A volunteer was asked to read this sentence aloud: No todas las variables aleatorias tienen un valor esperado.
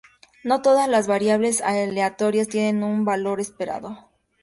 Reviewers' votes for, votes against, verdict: 2, 0, accepted